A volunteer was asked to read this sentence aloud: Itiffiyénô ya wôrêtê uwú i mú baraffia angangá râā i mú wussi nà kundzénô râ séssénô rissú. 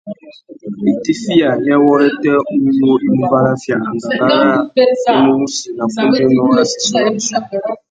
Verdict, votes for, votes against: rejected, 0, 2